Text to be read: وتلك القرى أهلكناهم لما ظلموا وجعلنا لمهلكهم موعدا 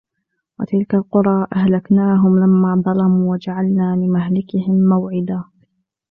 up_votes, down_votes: 1, 2